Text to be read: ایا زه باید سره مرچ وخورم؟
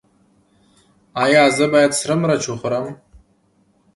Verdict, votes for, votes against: accepted, 2, 0